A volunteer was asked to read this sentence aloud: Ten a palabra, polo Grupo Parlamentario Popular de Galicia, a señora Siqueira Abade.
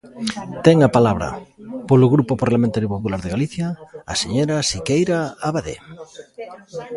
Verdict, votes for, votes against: rejected, 1, 2